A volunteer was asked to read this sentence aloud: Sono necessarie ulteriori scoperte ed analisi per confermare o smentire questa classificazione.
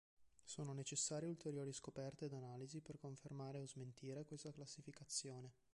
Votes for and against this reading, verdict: 3, 0, accepted